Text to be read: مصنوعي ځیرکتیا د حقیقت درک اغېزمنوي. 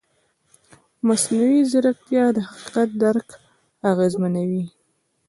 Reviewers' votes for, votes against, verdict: 1, 2, rejected